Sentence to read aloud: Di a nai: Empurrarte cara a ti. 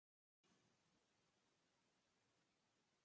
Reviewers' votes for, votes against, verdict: 0, 2, rejected